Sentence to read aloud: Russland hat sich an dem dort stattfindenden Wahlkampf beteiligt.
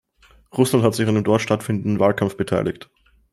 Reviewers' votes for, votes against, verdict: 2, 0, accepted